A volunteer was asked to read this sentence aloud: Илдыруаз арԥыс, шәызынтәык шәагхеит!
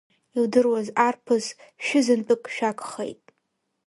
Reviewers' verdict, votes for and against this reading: accepted, 2, 0